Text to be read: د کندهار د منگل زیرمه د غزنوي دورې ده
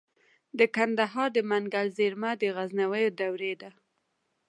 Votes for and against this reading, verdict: 1, 2, rejected